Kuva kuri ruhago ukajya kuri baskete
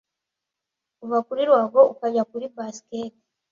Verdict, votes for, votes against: accepted, 2, 0